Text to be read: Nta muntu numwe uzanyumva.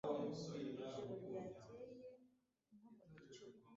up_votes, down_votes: 1, 2